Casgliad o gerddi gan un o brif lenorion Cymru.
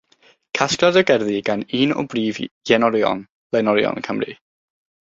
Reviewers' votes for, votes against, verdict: 3, 0, accepted